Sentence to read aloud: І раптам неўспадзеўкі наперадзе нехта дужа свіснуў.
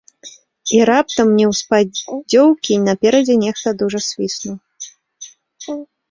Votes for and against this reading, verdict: 1, 2, rejected